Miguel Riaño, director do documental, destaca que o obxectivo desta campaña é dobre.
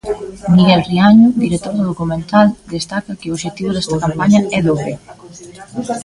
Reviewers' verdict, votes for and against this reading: rejected, 0, 2